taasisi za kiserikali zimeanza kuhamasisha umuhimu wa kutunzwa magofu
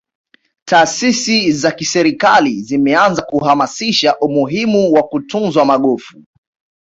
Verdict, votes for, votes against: accepted, 2, 1